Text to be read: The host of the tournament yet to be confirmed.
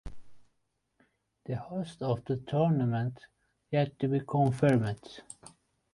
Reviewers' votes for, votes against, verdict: 2, 0, accepted